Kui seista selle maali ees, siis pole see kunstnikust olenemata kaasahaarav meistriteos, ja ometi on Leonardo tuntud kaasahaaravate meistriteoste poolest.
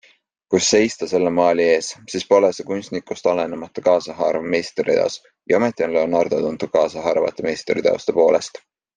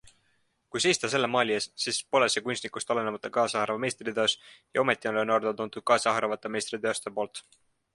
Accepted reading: first